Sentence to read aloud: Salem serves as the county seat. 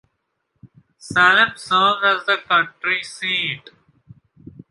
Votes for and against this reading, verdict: 1, 2, rejected